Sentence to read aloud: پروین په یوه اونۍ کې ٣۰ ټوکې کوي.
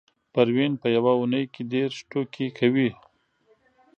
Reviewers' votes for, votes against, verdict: 0, 2, rejected